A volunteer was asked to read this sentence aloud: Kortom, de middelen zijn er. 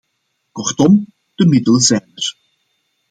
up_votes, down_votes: 2, 0